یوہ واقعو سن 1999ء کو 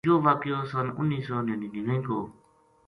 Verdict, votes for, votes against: rejected, 0, 2